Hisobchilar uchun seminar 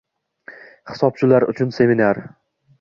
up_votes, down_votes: 2, 0